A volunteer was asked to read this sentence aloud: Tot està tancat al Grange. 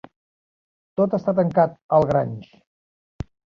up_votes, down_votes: 2, 0